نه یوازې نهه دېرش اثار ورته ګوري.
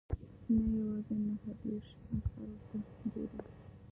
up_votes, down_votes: 1, 2